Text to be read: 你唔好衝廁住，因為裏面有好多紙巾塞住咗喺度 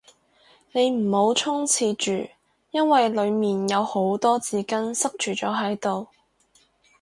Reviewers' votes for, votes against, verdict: 2, 0, accepted